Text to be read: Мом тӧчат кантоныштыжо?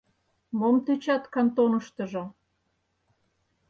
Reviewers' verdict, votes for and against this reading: accepted, 4, 0